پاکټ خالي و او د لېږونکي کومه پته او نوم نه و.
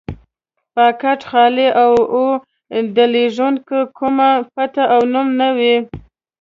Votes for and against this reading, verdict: 1, 2, rejected